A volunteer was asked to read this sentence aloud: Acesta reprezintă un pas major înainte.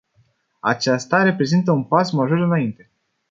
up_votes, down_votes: 0, 2